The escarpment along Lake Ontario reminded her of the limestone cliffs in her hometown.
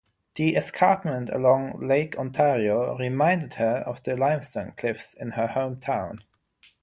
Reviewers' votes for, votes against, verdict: 6, 0, accepted